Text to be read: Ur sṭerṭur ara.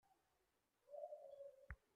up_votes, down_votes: 0, 2